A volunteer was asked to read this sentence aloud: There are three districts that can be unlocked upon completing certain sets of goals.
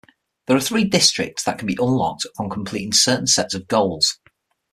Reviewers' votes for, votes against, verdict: 6, 0, accepted